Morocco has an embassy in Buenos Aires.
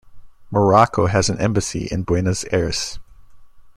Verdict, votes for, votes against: rejected, 1, 2